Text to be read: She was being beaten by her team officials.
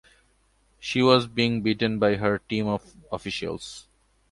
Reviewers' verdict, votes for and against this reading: rejected, 1, 2